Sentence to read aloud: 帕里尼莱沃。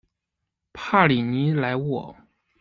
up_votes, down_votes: 2, 0